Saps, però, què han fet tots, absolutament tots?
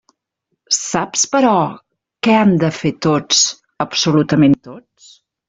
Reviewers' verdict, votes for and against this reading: rejected, 1, 2